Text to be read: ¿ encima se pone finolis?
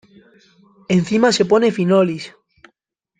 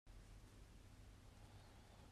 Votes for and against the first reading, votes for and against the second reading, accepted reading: 2, 1, 0, 2, first